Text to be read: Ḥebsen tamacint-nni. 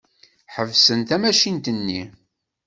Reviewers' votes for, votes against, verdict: 2, 0, accepted